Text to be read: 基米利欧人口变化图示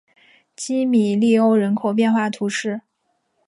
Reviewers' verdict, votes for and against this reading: accepted, 5, 0